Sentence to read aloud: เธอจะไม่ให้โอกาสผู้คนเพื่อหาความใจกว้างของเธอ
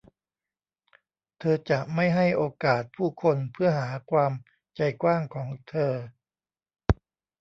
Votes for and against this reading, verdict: 0, 2, rejected